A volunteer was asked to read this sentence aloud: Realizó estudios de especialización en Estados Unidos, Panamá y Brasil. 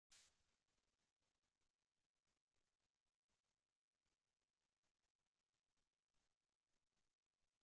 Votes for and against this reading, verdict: 0, 2, rejected